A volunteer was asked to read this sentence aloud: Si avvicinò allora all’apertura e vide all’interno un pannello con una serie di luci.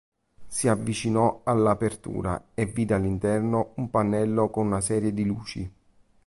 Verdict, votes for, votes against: accepted, 3, 0